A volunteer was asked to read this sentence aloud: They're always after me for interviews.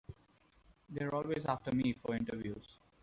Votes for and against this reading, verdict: 2, 3, rejected